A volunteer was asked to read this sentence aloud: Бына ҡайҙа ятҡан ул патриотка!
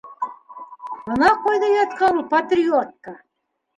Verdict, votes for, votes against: accepted, 2, 1